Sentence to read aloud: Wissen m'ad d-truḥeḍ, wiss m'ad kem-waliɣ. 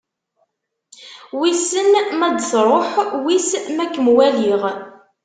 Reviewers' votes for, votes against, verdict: 1, 2, rejected